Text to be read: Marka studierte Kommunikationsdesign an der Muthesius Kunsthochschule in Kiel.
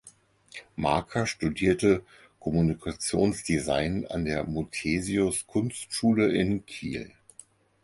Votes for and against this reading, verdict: 0, 4, rejected